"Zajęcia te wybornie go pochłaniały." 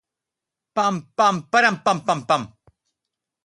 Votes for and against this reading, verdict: 0, 2, rejected